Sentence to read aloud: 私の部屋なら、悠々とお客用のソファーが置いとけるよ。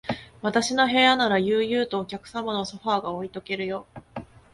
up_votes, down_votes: 1, 2